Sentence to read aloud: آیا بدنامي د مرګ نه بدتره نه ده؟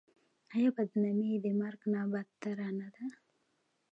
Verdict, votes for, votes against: accepted, 2, 1